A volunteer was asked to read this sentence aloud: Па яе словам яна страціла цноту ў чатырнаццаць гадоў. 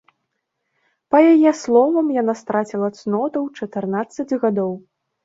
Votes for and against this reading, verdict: 0, 2, rejected